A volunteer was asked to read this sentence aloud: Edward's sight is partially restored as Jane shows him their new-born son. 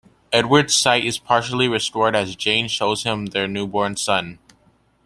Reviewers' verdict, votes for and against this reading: accepted, 2, 0